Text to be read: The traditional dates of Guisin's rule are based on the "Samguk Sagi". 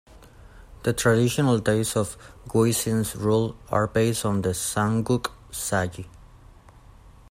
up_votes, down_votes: 2, 1